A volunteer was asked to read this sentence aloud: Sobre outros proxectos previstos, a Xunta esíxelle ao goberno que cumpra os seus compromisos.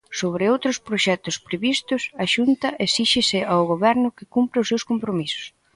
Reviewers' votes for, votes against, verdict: 0, 2, rejected